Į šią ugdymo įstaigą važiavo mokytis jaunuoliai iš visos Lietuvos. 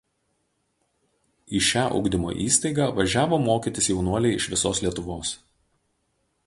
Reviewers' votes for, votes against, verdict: 2, 0, accepted